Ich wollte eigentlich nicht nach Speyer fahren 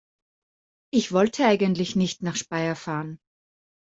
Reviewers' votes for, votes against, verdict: 1, 2, rejected